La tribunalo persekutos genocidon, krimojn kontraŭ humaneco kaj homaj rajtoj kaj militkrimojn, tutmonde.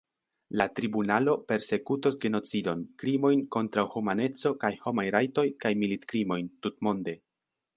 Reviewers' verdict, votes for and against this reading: accepted, 2, 0